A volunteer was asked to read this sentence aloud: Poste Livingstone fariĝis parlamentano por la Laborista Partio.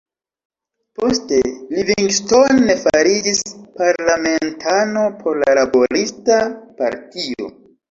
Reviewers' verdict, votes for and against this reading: rejected, 0, 2